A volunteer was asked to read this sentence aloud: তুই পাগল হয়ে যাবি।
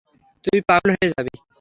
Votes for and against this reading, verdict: 0, 3, rejected